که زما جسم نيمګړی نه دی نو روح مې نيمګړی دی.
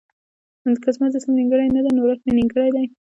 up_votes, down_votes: 0, 2